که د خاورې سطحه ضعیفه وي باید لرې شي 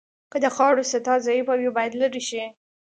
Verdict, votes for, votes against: accepted, 2, 0